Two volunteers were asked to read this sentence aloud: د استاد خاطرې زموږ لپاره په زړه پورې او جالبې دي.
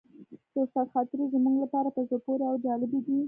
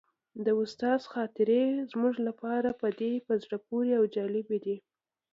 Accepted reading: second